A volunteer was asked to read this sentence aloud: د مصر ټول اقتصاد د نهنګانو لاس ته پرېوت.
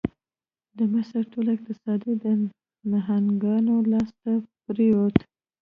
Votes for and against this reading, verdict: 1, 2, rejected